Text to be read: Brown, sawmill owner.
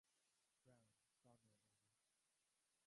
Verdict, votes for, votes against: rejected, 0, 2